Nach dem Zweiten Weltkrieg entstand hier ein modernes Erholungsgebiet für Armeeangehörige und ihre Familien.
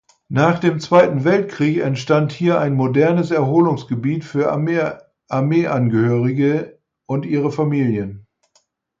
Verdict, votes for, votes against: rejected, 0, 4